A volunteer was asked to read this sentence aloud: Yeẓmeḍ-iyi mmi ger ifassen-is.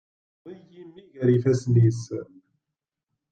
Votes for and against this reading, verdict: 0, 2, rejected